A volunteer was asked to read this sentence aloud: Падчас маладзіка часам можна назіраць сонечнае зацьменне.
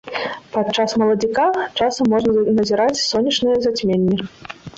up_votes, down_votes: 2, 1